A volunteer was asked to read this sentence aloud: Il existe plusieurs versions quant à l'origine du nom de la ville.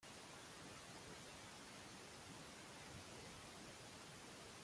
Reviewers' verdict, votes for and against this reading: rejected, 0, 3